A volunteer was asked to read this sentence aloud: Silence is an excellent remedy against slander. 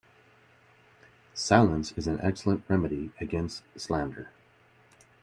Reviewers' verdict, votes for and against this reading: accepted, 2, 0